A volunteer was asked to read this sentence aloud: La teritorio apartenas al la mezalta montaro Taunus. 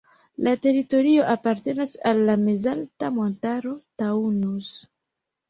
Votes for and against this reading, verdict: 0, 2, rejected